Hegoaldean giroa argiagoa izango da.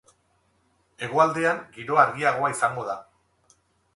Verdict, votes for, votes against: accepted, 4, 0